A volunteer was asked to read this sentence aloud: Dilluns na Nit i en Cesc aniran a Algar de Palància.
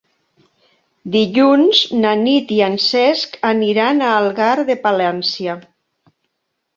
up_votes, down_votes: 2, 0